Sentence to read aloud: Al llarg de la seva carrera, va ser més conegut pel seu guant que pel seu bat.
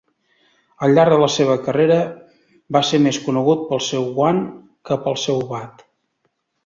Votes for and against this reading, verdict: 2, 0, accepted